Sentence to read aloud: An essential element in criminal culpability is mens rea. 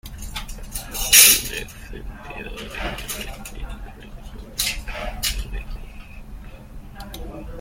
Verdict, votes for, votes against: rejected, 0, 2